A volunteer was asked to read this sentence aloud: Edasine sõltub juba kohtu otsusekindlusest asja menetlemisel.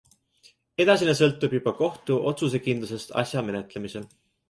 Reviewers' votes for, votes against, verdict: 2, 0, accepted